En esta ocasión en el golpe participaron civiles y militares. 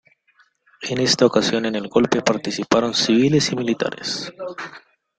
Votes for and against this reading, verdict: 2, 0, accepted